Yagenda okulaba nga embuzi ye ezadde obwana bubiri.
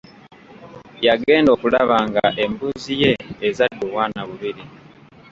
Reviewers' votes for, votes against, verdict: 2, 0, accepted